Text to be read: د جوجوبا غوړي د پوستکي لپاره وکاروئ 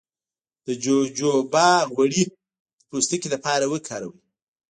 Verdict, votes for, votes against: accepted, 2, 1